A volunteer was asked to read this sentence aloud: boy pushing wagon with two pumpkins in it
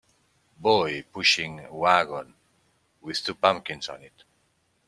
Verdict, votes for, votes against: rejected, 0, 2